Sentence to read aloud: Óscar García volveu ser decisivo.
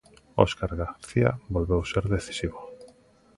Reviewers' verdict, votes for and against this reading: accepted, 2, 0